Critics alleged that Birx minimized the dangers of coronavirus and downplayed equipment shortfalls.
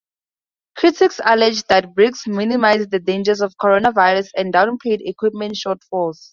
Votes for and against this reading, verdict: 0, 4, rejected